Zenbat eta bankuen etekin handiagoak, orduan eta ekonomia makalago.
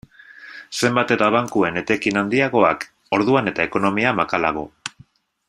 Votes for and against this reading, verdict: 2, 0, accepted